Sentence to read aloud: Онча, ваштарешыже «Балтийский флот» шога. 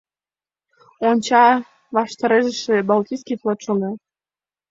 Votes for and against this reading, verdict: 2, 1, accepted